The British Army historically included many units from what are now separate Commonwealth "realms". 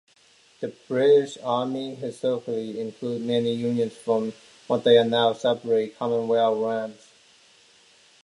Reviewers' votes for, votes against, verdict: 0, 2, rejected